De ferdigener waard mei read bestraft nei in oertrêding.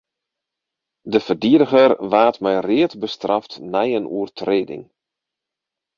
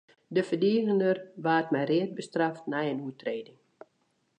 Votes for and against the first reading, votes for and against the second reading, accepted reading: 4, 4, 2, 1, second